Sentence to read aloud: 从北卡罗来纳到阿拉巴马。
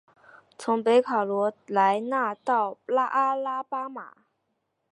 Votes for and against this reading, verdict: 1, 2, rejected